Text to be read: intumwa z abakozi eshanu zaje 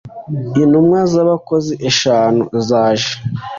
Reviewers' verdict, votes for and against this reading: accepted, 3, 0